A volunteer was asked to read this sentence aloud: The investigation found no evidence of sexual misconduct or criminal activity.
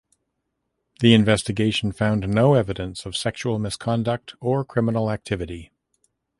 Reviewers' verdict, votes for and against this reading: accepted, 2, 0